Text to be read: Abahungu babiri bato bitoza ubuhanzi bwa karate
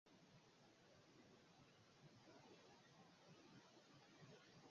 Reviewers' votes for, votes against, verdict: 0, 3, rejected